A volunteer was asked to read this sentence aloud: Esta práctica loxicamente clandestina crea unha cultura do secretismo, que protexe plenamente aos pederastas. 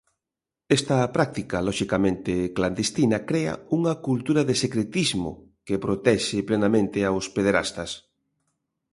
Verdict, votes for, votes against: rejected, 1, 2